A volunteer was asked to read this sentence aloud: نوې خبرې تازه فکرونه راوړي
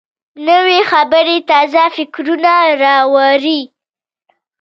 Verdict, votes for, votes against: accepted, 2, 0